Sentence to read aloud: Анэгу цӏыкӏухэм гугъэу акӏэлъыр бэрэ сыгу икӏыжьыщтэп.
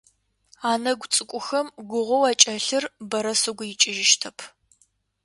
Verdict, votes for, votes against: accepted, 2, 0